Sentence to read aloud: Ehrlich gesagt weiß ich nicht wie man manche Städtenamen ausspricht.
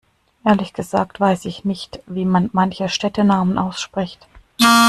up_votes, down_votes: 2, 0